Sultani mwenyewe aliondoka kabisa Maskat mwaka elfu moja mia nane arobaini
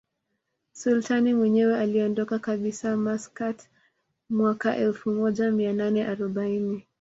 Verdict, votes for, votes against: accepted, 2, 0